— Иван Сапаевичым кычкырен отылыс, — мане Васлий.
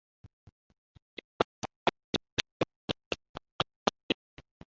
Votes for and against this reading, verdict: 0, 2, rejected